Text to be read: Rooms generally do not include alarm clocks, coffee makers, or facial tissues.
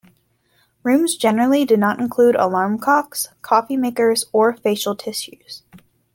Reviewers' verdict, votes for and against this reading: rejected, 1, 2